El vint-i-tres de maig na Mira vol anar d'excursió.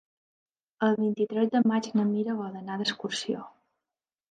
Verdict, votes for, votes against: accepted, 4, 0